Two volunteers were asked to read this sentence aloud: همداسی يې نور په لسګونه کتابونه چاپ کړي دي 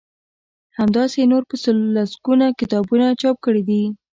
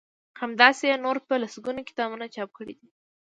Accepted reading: second